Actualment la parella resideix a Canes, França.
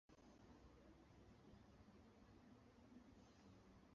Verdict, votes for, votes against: rejected, 0, 3